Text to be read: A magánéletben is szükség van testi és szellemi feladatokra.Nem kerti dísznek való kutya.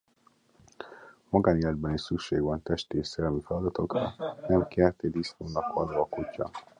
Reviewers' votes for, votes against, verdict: 0, 2, rejected